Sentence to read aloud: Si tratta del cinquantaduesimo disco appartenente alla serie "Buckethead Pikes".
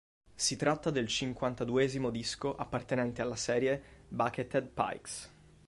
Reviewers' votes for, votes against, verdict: 5, 0, accepted